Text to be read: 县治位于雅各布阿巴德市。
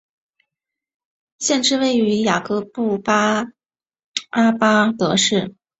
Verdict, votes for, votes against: accepted, 2, 0